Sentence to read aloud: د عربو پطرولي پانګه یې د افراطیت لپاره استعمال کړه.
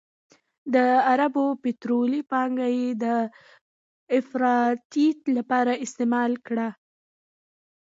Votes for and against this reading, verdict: 2, 0, accepted